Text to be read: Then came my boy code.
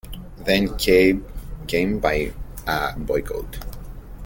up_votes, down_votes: 0, 2